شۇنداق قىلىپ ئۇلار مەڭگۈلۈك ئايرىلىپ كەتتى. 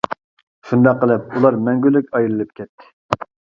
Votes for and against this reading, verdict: 3, 0, accepted